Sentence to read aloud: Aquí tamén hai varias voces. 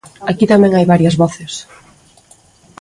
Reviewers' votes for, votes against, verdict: 2, 0, accepted